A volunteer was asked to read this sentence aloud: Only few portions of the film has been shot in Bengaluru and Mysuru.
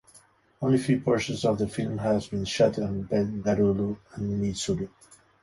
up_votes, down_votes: 1, 2